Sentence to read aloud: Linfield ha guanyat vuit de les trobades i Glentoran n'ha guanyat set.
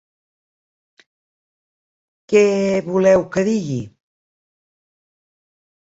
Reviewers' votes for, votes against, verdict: 0, 3, rejected